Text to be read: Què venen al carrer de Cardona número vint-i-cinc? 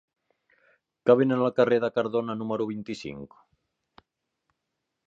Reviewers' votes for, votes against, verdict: 2, 4, rejected